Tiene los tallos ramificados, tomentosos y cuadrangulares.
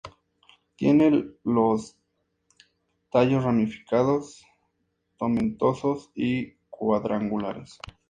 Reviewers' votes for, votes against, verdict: 2, 0, accepted